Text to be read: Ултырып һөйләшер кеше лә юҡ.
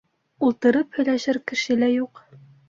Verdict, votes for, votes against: accepted, 2, 0